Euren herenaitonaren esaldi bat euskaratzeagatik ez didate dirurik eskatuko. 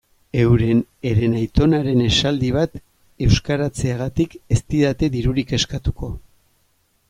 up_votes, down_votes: 2, 0